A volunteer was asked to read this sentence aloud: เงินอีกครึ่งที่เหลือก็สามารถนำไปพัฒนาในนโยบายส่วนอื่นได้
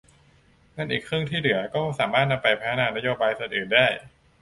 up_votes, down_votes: 0, 2